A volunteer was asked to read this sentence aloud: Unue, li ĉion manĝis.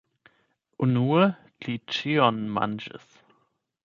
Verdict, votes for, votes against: rejected, 4, 8